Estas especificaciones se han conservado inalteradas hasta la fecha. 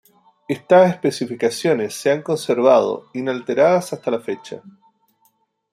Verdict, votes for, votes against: accepted, 2, 0